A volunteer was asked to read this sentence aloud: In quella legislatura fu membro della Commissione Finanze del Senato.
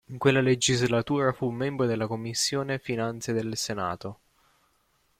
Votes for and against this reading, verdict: 1, 2, rejected